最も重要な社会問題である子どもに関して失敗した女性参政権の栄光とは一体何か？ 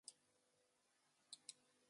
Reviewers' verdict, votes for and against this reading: rejected, 0, 2